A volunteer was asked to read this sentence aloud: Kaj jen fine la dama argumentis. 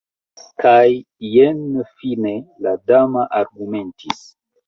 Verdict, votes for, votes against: accepted, 2, 1